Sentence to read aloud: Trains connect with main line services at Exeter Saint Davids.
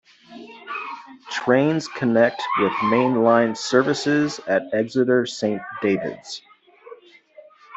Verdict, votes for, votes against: rejected, 1, 2